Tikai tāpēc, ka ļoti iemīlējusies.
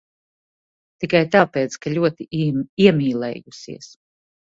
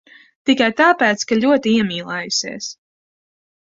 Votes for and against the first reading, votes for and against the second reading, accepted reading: 0, 2, 2, 0, second